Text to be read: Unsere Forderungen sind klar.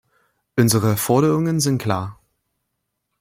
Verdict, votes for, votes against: rejected, 0, 2